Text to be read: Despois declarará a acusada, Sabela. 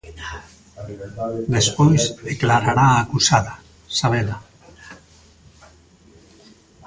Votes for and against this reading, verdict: 2, 1, accepted